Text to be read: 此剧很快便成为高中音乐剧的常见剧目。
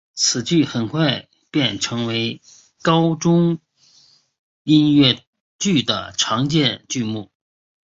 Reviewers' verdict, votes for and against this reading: accepted, 3, 1